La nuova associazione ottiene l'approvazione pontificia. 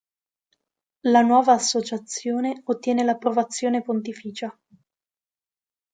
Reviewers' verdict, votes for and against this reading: accepted, 2, 0